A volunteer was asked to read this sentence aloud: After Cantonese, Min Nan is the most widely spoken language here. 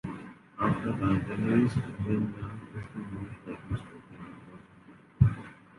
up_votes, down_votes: 0, 2